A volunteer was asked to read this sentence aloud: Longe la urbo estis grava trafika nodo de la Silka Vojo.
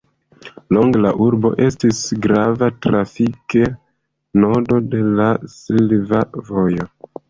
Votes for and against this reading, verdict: 1, 2, rejected